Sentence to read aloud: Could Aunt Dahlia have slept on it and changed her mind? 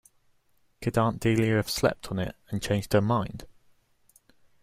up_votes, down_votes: 0, 2